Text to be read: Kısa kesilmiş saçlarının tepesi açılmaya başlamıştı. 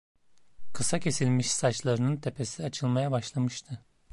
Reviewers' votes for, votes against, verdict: 2, 0, accepted